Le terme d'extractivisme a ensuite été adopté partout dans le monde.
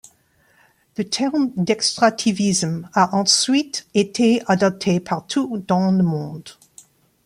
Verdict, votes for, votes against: accepted, 2, 0